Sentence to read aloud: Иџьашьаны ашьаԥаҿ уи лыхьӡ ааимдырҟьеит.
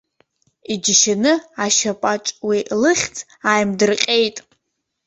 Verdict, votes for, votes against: rejected, 0, 2